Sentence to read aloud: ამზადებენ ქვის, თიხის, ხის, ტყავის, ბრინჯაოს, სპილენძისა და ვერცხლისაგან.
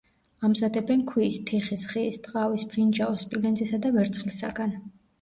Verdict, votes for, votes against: rejected, 1, 2